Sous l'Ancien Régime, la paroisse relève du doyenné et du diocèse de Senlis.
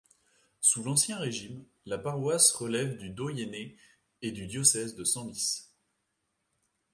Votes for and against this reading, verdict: 2, 0, accepted